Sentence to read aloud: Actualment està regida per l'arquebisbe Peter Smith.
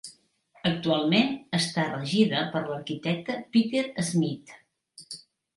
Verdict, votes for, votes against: rejected, 0, 2